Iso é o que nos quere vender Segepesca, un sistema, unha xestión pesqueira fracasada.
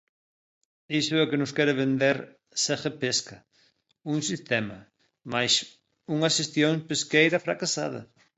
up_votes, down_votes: 0, 2